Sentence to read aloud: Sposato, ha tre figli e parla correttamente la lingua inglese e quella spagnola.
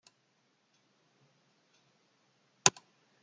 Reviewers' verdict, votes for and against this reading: rejected, 0, 2